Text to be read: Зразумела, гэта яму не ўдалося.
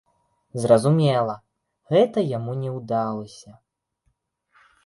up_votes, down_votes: 0, 2